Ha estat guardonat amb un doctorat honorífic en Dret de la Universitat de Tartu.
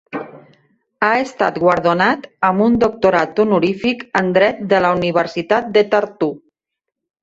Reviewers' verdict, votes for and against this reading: rejected, 1, 2